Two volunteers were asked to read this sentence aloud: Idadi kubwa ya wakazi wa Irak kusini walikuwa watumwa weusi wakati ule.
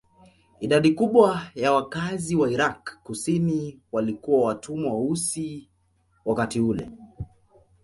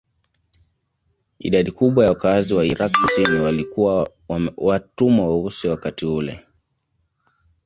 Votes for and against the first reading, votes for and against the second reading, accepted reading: 2, 1, 0, 2, first